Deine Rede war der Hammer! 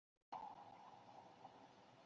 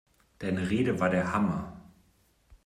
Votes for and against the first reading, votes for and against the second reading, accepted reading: 0, 2, 2, 0, second